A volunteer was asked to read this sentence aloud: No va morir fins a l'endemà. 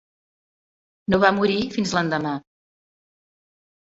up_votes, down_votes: 0, 2